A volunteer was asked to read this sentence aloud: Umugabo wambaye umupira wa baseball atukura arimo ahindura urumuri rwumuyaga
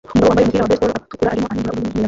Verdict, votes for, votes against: rejected, 0, 2